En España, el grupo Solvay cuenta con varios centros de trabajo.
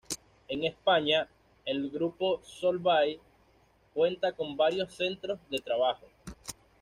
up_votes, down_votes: 2, 0